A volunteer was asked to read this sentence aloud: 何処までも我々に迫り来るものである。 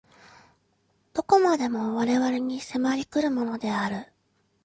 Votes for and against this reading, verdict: 2, 0, accepted